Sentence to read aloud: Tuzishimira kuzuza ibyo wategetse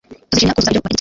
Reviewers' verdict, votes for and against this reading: rejected, 1, 2